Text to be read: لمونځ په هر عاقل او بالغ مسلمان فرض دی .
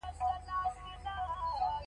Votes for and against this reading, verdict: 0, 2, rejected